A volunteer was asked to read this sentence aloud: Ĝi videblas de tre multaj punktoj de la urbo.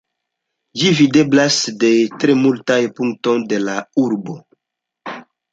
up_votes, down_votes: 2, 0